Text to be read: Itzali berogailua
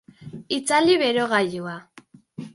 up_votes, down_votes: 2, 0